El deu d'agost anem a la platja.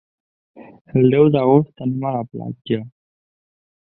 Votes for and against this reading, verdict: 2, 1, accepted